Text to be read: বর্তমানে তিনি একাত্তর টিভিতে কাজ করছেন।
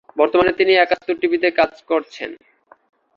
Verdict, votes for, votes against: accepted, 2, 0